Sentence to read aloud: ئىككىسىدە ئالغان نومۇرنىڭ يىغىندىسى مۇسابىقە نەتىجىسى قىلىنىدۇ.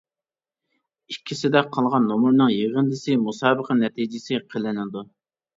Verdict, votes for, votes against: rejected, 1, 2